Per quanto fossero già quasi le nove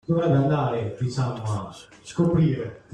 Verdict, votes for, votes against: rejected, 0, 2